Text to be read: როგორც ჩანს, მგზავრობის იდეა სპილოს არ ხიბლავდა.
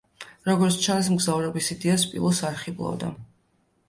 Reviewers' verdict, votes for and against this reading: accepted, 2, 0